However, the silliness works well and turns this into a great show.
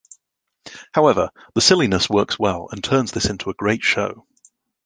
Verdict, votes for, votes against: accepted, 2, 0